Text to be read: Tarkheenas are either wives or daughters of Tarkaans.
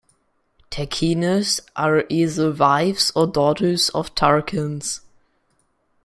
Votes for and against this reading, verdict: 1, 2, rejected